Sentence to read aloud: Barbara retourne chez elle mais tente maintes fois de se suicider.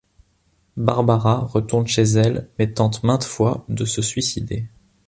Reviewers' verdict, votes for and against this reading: accepted, 2, 0